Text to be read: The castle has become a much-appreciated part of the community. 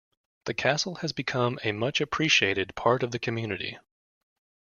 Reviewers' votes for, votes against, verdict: 2, 0, accepted